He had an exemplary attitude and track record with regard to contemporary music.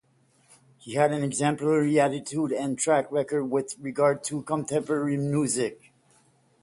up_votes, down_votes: 0, 5